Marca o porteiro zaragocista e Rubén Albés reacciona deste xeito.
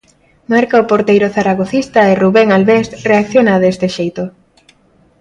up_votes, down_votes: 2, 0